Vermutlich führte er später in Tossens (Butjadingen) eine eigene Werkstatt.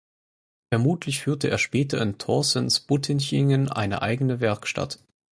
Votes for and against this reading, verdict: 0, 4, rejected